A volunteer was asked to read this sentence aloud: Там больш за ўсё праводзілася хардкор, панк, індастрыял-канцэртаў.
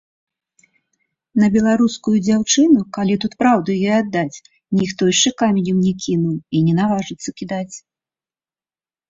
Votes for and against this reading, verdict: 0, 2, rejected